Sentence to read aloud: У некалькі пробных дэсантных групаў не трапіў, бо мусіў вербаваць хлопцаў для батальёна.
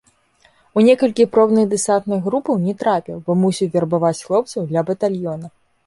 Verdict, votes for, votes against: accepted, 2, 0